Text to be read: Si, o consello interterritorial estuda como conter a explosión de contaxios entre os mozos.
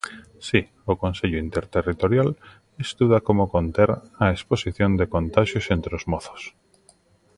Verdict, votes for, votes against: rejected, 0, 2